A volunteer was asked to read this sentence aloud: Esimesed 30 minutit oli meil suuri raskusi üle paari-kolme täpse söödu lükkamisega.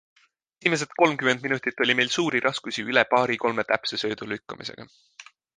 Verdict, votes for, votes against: rejected, 0, 2